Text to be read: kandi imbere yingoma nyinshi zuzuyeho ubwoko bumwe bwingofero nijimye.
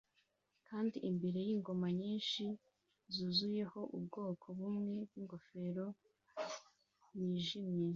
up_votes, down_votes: 2, 0